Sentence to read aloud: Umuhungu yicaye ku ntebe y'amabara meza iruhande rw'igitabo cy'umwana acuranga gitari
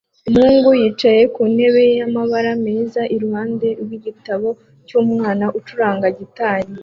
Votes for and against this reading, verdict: 2, 0, accepted